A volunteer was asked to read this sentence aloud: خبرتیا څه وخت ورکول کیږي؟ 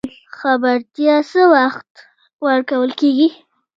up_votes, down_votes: 2, 0